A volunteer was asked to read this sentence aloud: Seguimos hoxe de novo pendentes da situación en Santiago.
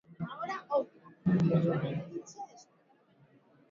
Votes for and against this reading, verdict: 0, 2, rejected